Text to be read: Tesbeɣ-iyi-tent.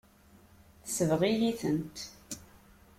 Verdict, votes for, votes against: accepted, 2, 0